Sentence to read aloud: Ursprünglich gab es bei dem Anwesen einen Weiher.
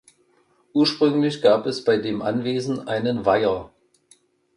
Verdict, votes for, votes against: accepted, 2, 0